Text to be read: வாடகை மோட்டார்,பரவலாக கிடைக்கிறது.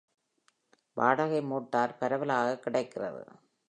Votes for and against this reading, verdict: 3, 0, accepted